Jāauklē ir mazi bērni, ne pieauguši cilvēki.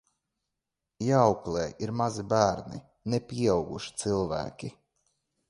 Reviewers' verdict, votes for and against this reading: accepted, 2, 0